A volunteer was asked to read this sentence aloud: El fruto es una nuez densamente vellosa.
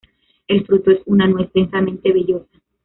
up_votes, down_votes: 1, 2